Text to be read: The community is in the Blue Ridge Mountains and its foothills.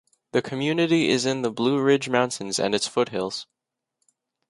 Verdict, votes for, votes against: accepted, 2, 0